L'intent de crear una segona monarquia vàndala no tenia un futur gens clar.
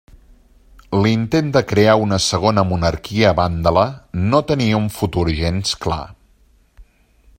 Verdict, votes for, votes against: accepted, 2, 0